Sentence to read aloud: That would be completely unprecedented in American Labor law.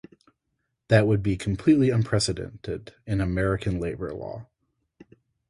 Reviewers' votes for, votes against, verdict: 0, 2, rejected